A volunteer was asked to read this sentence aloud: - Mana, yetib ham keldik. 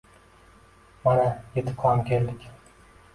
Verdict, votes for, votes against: accepted, 2, 0